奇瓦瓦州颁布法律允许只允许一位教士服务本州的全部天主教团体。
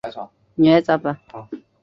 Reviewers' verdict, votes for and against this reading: rejected, 1, 7